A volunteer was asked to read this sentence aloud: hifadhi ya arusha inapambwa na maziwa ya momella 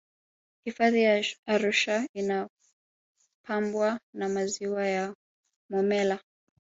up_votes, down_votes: 2, 0